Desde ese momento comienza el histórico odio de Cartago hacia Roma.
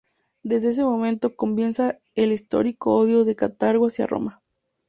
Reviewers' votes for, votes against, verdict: 2, 0, accepted